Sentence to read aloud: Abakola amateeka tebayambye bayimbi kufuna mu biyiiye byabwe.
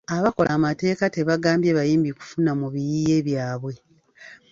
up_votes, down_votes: 1, 2